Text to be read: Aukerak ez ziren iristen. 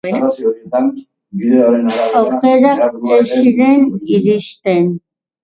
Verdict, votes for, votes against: rejected, 0, 2